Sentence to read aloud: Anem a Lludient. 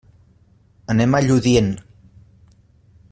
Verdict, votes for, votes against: accepted, 3, 0